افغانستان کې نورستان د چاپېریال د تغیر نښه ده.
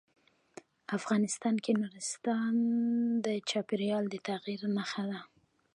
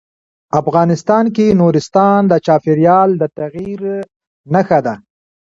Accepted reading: second